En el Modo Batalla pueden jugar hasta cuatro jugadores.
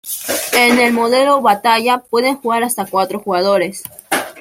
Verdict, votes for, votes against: rejected, 0, 3